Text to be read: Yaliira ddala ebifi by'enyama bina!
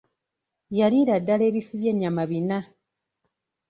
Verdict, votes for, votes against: accepted, 2, 0